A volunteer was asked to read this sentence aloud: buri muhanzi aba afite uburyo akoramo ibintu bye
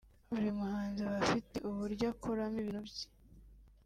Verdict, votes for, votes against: rejected, 1, 2